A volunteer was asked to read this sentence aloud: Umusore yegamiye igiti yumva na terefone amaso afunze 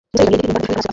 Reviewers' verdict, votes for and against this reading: rejected, 0, 2